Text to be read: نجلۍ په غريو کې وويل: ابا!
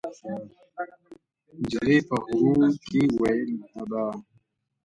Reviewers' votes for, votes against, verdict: 2, 1, accepted